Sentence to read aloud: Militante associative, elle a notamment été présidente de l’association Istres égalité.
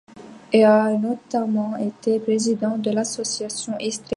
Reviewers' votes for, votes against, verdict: 0, 2, rejected